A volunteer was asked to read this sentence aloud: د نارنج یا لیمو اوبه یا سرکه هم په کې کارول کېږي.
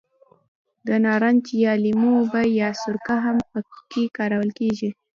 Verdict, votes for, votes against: accepted, 2, 0